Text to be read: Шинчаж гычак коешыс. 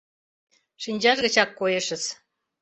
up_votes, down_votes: 2, 0